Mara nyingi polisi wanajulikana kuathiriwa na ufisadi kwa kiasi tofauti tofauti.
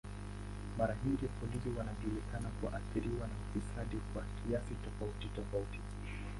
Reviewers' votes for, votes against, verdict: 0, 5, rejected